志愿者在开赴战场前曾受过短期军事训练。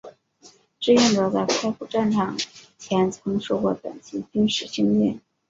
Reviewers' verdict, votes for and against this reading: rejected, 0, 2